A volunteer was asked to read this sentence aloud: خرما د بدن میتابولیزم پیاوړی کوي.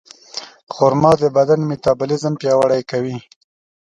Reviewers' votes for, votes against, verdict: 2, 0, accepted